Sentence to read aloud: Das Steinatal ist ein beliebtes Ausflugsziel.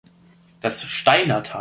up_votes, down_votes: 0, 3